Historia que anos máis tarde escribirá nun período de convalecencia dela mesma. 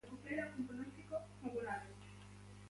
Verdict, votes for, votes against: rejected, 0, 2